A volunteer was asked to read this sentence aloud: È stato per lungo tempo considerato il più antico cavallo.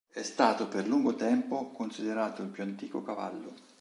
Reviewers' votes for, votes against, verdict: 2, 0, accepted